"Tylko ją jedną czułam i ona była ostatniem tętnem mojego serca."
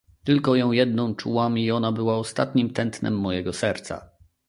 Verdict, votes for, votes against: rejected, 1, 2